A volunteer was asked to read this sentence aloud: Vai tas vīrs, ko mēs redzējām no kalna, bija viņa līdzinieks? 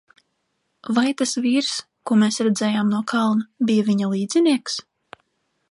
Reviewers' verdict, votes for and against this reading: accepted, 2, 0